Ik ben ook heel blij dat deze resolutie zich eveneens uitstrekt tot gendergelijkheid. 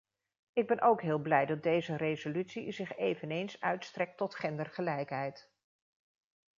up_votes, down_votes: 2, 0